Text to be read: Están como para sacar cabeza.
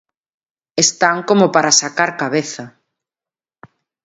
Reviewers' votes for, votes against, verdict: 2, 0, accepted